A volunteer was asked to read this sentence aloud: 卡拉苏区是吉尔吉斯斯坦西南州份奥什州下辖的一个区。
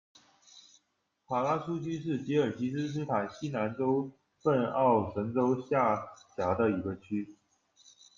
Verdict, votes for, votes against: accepted, 2, 1